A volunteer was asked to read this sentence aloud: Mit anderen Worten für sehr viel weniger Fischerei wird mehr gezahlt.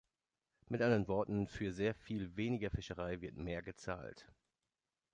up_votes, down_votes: 1, 2